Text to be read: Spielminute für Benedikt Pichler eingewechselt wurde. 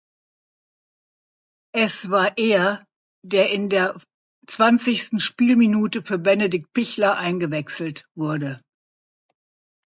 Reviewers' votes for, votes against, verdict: 0, 2, rejected